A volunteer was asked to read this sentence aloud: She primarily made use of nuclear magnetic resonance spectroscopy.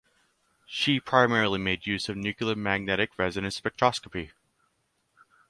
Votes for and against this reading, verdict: 2, 2, rejected